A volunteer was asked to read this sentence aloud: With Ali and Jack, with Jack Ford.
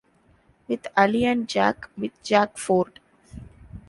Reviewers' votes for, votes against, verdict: 3, 0, accepted